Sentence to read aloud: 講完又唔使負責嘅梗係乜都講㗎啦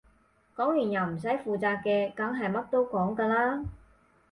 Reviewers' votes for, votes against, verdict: 6, 0, accepted